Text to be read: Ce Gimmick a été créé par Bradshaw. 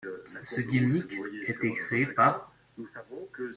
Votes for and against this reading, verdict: 0, 2, rejected